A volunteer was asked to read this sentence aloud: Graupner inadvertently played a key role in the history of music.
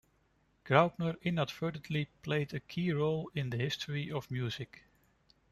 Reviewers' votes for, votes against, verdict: 2, 1, accepted